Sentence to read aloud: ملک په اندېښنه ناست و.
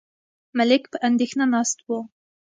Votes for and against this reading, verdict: 2, 0, accepted